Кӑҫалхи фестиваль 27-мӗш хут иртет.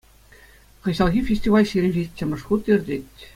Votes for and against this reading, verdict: 0, 2, rejected